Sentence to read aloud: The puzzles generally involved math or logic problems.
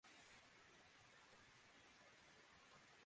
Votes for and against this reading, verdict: 0, 2, rejected